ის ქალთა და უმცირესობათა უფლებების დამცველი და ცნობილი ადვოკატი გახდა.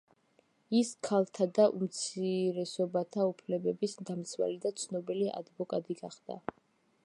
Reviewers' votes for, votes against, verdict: 1, 2, rejected